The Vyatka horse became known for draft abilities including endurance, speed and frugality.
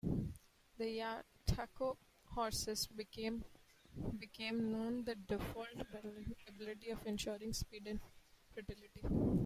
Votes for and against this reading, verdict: 0, 2, rejected